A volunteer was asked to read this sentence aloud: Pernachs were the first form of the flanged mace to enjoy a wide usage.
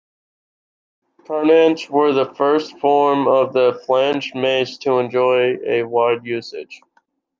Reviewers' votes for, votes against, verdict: 1, 2, rejected